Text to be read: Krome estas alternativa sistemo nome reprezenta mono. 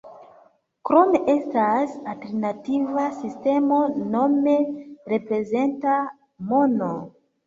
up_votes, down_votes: 1, 2